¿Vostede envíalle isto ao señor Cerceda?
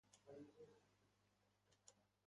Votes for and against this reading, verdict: 0, 2, rejected